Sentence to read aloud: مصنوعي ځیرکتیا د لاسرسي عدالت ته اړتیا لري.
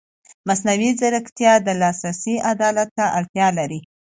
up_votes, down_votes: 2, 0